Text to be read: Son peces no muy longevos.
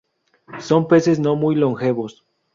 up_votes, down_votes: 2, 0